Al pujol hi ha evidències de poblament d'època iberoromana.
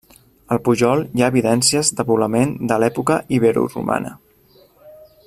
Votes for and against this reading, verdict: 0, 2, rejected